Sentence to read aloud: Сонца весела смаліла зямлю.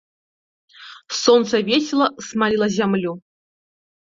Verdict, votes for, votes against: rejected, 0, 2